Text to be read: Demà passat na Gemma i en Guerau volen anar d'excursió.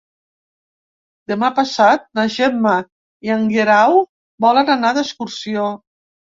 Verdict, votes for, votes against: accepted, 4, 0